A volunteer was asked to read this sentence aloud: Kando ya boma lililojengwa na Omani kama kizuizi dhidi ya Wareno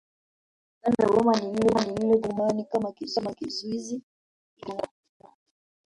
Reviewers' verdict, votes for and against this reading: rejected, 0, 3